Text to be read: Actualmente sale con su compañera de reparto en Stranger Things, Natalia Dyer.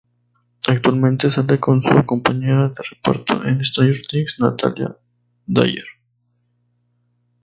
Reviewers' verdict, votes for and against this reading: accepted, 2, 0